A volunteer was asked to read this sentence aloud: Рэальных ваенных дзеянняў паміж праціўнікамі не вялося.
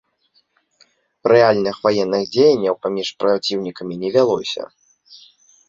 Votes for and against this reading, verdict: 2, 0, accepted